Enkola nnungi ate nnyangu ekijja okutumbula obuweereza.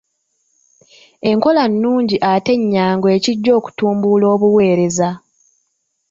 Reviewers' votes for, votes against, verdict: 0, 2, rejected